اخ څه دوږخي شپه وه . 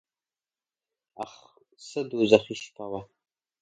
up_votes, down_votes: 2, 0